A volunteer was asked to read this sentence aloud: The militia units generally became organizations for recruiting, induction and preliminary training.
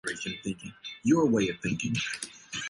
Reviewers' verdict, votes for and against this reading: rejected, 0, 3